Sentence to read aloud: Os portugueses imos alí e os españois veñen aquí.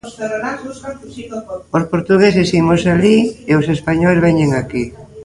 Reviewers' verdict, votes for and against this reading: rejected, 0, 2